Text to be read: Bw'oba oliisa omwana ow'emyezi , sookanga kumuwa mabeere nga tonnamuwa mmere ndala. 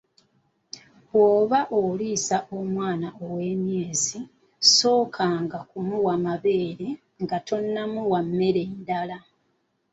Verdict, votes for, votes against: accepted, 2, 0